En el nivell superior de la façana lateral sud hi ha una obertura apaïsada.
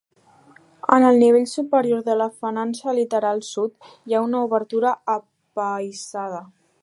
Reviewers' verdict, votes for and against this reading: rejected, 1, 4